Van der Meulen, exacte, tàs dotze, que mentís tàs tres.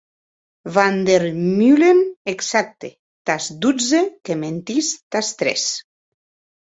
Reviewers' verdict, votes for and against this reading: accepted, 2, 0